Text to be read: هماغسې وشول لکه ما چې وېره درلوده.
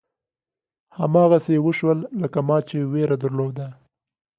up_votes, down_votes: 2, 0